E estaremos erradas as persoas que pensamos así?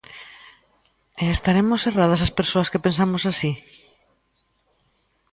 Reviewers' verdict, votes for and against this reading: accepted, 3, 0